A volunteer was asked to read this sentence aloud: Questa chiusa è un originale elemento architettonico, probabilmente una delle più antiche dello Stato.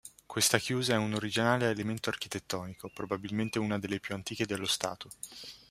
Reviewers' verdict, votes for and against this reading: rejected, 1, 2